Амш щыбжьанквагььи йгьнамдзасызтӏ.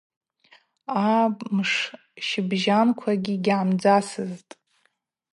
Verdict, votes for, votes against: rejected, 0, 2